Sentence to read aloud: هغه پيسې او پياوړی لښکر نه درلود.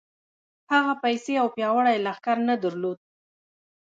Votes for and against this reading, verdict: 0, 2, rejected